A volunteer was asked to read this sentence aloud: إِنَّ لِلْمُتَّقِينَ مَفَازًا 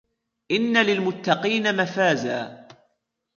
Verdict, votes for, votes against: accepted, 2, 0